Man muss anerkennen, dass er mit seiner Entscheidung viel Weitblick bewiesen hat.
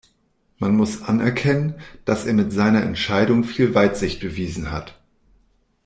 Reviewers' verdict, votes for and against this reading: rejected, 0, 2